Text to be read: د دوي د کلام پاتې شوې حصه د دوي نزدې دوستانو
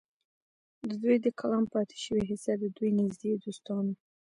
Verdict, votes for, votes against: rejected, 1, 2